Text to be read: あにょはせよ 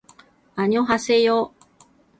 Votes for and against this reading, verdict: 4, 0, accepted